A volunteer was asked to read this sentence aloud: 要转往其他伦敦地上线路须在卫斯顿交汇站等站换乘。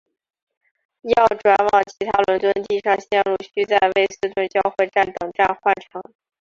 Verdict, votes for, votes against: rejected, 0, 2